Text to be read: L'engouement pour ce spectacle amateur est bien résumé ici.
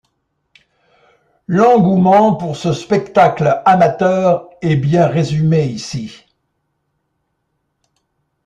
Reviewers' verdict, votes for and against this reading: accepted, 2, 0